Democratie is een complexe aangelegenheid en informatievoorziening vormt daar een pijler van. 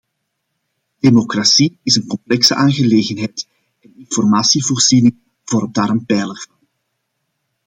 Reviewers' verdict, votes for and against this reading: rejected, 0, 2